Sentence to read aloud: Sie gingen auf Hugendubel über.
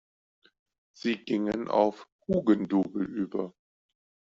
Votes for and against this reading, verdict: 0, 2, rejected